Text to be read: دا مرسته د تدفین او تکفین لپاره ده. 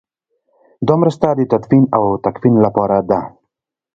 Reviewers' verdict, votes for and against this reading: rejected, 1, 2